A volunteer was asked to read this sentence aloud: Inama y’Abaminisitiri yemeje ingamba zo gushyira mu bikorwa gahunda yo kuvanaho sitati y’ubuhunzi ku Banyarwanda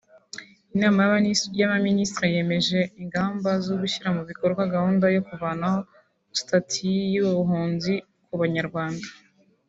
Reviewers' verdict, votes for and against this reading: rejected, 2, 3